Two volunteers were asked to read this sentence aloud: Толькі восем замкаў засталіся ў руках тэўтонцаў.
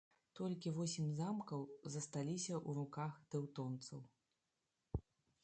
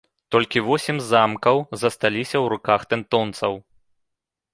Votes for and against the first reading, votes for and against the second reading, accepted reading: 1, 2, 2, 1, second